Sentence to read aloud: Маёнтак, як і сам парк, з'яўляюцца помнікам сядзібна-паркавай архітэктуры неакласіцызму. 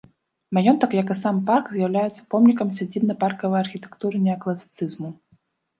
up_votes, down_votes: 1, 2